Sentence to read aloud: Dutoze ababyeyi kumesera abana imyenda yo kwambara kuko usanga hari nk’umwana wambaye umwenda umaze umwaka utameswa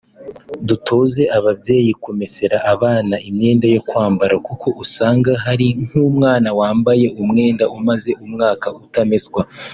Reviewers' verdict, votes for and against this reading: accepted, 2, 0